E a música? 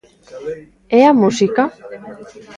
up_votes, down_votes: 1, 2